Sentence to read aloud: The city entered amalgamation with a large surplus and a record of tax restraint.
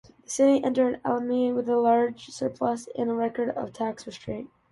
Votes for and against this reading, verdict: 0, 2, rejected